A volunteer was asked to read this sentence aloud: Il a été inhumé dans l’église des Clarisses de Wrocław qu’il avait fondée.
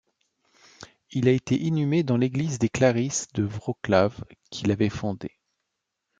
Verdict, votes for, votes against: accepted, 2, 0